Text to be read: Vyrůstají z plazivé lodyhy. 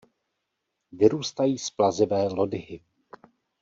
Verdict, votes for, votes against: rejected, 1, 2